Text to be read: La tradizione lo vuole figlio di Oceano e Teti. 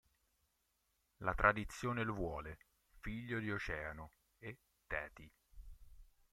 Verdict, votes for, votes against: rejected, 1, 2